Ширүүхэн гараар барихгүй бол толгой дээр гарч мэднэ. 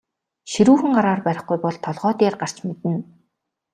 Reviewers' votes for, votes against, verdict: 2, 1, accepted